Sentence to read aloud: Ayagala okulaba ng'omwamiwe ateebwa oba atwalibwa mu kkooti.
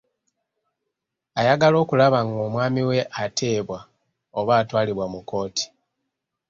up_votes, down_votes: 2, 0